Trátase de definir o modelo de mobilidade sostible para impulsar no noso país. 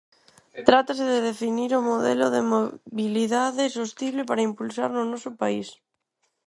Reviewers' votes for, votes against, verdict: 0, 4, rejected